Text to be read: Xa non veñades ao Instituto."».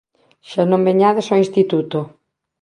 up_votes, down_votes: 2, 0